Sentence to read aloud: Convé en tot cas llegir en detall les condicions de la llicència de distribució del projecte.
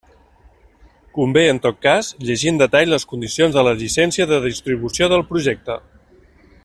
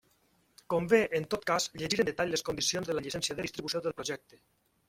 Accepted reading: first